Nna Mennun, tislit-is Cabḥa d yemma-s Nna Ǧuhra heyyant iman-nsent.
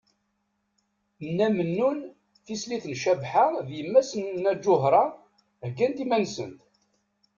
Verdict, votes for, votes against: rejected, 0, 2